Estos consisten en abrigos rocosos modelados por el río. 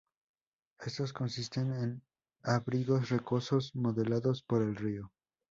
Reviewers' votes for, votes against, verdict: 0, 2, rejected